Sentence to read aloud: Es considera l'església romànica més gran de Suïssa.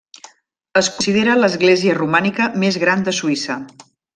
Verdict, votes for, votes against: rejected, 1, 2